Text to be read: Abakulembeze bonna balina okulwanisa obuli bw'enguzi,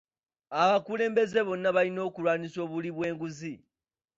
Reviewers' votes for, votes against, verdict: 2, 0, accepted